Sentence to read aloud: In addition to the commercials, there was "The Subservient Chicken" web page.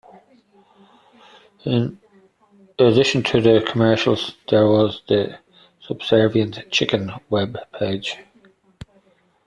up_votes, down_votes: 2, 0